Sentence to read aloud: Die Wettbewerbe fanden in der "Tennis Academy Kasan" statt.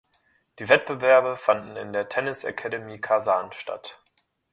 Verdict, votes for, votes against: accepted, 2, 0